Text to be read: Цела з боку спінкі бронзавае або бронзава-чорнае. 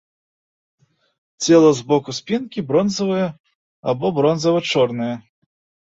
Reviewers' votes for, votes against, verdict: 2, 0, accepted